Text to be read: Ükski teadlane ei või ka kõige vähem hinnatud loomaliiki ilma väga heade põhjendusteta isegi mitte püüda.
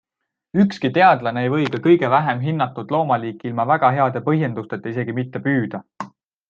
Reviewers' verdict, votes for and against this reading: accepted, 2, 0